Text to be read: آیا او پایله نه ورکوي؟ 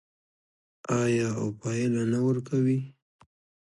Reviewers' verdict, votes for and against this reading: rejected, 1, 2